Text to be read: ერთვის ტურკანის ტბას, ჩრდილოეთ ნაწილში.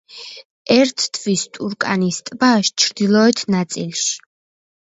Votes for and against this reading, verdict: 1, 2, rejected